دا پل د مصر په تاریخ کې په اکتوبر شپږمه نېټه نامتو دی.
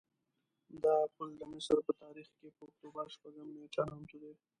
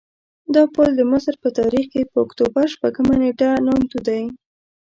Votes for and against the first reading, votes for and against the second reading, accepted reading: 0, 2, 2, 0, second